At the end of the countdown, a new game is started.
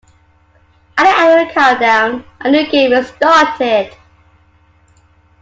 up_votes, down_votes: 2, 1